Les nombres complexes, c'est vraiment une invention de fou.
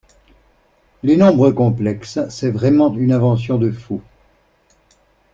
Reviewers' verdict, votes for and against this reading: accepted, 2, 0